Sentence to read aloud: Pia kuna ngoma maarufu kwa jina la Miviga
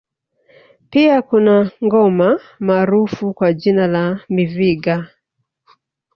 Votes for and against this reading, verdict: 1, 2, rejected